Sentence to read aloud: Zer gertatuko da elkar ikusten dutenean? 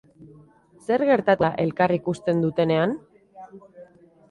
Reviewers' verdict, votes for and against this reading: rejected, 2, 2